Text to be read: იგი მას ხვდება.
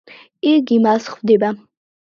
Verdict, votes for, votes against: accepted, 2, 0